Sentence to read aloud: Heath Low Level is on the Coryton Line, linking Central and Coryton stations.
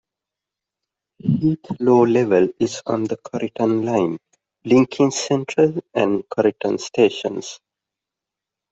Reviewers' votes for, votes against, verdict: 0, 2, rejected